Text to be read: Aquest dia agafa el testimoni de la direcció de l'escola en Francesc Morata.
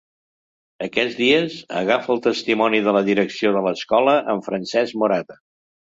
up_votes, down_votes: 1, 2